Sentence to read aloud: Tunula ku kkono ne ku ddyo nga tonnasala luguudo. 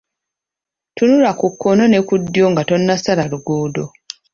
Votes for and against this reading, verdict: 2, 1, accepted